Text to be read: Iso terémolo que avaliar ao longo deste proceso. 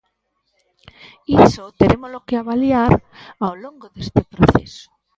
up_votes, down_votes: 1, 2